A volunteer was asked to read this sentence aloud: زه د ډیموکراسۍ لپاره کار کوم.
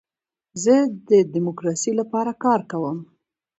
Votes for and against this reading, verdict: 2, 1, accepted